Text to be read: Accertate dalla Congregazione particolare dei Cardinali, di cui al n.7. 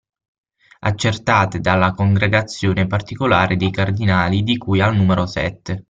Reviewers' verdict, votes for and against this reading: rejected, 0, 2